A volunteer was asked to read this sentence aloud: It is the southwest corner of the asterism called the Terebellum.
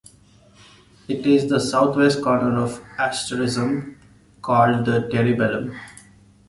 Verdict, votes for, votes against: rejected, 0, 2